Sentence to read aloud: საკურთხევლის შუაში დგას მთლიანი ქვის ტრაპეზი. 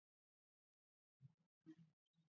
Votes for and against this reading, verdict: 2, 1, accepted